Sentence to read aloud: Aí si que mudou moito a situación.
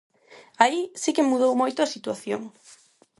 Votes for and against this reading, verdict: 4, 0, accepted